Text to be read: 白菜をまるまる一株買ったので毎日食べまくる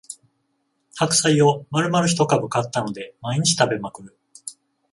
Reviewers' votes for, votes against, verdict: 14, 0, accepted